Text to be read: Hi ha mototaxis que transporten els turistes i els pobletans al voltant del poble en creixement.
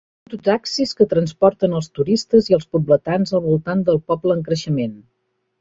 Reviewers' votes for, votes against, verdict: 1, 2, rejected